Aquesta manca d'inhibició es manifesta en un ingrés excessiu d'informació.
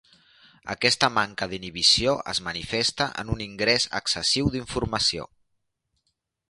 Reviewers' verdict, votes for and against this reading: accepted, 2, 0